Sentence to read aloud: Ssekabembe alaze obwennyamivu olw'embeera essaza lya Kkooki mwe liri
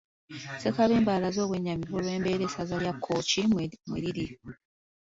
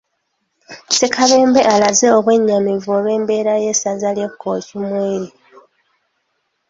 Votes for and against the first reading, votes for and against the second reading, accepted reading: 2, 0, 0, 2, first